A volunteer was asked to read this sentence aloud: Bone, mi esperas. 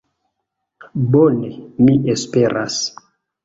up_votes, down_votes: 2, 0